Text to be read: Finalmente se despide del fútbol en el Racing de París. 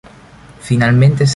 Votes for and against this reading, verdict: 1, 2, rejected